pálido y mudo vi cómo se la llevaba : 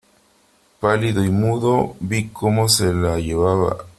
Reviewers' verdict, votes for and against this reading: accepted, 3, 0